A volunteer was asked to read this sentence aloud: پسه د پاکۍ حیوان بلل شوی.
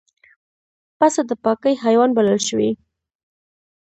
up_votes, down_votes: 1, 2